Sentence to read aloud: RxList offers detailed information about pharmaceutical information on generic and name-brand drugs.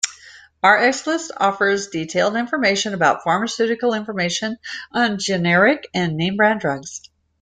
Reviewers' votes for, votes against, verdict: 2, 0, accepted